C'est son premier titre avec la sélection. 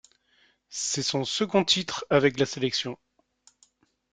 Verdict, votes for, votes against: rejected, 1, 2